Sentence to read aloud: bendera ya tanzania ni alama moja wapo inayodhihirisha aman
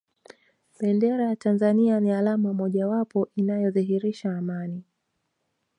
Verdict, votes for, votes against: rejected, 1, 2